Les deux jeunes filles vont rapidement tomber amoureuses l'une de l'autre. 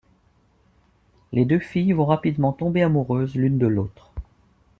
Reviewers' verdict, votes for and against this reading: rejected, 1, 2